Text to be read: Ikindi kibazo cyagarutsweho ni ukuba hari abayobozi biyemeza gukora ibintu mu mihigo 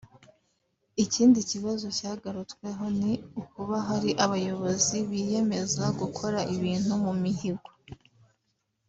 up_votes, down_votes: 2, 0